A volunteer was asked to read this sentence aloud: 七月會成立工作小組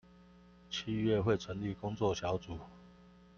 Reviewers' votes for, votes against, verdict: 2, 0, accepted